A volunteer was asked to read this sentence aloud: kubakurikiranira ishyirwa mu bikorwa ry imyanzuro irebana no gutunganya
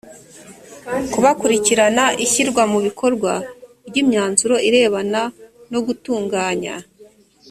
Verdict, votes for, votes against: rejected, 1, 2